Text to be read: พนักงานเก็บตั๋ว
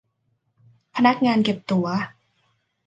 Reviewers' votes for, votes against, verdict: 2, 0, accepted